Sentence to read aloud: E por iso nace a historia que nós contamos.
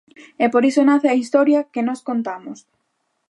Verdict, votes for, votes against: accepted, 3, 0